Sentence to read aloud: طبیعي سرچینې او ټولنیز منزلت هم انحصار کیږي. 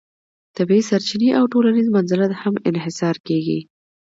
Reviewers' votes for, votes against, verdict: 2, 0, accepted